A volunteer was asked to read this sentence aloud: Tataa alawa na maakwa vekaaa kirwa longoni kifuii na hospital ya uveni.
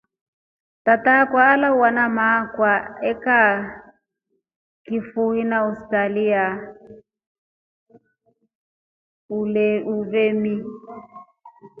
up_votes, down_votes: 2, 0